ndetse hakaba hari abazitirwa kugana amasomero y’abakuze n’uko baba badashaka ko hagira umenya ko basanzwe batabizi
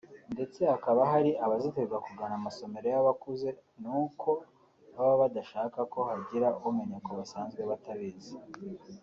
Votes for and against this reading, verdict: 2, 0, accepted